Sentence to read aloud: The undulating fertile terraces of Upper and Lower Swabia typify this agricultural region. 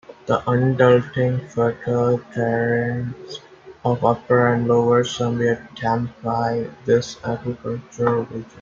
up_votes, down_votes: 0, 2